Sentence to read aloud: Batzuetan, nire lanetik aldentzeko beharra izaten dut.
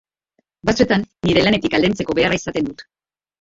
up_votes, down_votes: 0, 3